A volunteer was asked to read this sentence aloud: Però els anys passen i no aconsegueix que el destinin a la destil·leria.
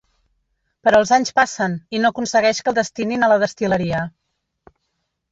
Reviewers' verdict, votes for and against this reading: rejected, 1, 2